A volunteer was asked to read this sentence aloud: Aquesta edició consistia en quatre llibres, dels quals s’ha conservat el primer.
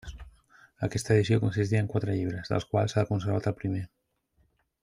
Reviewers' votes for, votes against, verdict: 3, 0, accepted